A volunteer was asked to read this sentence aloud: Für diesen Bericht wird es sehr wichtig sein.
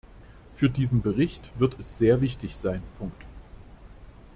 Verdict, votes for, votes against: rejected, 0, 2